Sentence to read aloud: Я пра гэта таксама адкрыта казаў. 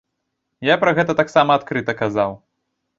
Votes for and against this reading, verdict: 2, 0, accepted